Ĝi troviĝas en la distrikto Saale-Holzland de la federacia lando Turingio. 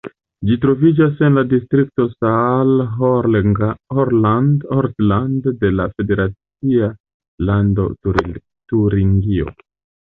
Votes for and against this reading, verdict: 0, 2, rejected